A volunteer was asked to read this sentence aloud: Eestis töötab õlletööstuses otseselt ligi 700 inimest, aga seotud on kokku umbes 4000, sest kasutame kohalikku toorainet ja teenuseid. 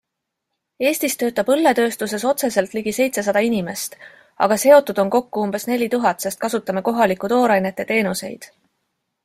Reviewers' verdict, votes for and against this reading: rejected, 0, 2